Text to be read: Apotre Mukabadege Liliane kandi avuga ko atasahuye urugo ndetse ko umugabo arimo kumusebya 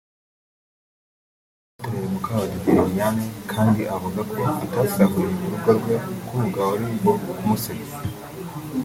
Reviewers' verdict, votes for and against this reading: rejected, 0, 2